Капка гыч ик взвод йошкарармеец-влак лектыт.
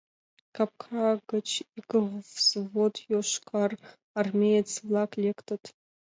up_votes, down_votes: 2, 0